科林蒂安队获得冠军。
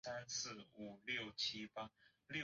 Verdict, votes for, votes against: rejected, 0, 2